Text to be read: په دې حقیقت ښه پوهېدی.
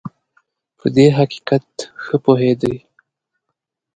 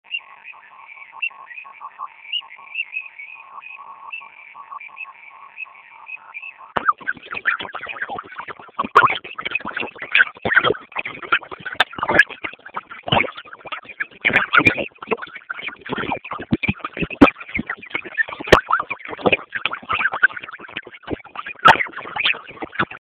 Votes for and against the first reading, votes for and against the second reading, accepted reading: 2, 0, 0, 2, first